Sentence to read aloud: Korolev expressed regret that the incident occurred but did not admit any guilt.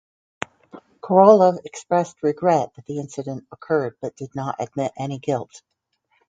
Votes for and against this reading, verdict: 2, 4, rejected